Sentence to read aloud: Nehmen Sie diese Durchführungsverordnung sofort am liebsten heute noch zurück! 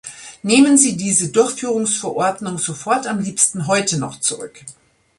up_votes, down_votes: 2, 0